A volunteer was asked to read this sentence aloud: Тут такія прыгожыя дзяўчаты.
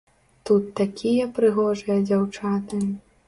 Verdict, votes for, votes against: accepted, 3, 0